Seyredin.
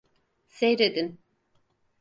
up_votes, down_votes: 4, 0